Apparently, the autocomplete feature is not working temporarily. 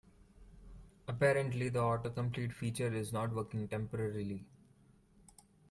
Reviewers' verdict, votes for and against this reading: accepted, 2, 0